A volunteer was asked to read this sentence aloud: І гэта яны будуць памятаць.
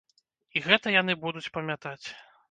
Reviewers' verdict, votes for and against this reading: rejected, 1, 2